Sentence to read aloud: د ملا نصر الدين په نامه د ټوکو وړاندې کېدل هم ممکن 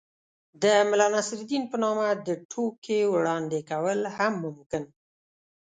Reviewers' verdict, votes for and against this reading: rejected, 1, 2